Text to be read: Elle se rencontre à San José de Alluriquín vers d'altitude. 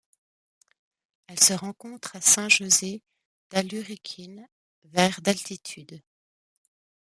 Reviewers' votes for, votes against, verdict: 1, 2, rejected